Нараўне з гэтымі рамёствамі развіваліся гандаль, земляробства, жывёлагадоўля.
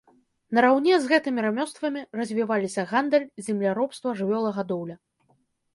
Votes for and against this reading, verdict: 2, 0, accepted